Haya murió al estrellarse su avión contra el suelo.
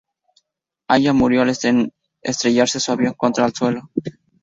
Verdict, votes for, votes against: rejected, 0, 2